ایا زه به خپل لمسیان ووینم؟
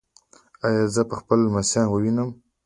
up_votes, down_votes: 2, 0